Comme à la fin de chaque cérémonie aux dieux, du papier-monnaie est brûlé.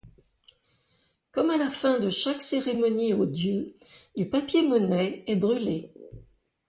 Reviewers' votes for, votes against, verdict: 2, 0, accepted